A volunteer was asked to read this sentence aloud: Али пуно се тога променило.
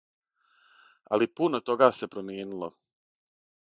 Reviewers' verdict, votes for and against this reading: rejected, 3, 6